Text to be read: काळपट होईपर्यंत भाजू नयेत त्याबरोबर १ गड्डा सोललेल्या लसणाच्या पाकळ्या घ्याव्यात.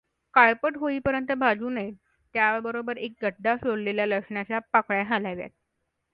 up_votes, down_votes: 0, 2